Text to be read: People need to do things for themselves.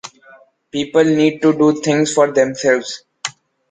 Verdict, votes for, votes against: accepted, 2, 0